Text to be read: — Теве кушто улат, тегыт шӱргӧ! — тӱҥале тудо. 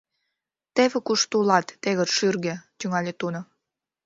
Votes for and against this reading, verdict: 1, 2, rejected